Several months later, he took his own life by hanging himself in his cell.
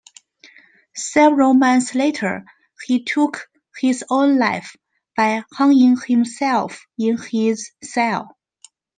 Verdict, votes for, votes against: rejected, 1, 2